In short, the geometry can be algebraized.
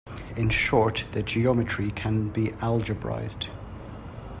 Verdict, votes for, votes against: accepted, 2, 0